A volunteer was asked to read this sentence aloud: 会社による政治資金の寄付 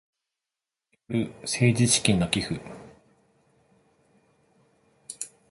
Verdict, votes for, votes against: rejected, 0, 2